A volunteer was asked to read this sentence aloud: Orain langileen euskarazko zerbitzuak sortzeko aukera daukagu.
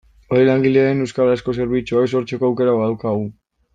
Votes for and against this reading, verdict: 0, 2, rejected